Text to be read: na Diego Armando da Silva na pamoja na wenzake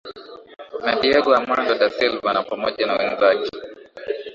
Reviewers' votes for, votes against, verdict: 0, 2, rejected